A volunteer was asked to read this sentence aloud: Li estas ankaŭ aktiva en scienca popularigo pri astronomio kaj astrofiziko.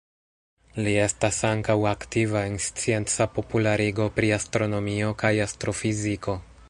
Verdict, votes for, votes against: rejected, 1, 2